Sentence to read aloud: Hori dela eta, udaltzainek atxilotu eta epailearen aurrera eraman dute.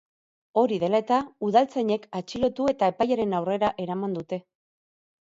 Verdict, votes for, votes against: rejected, 2, 2